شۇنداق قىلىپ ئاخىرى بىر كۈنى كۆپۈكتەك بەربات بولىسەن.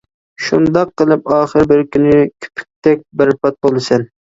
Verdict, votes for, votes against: rejected, 0, 2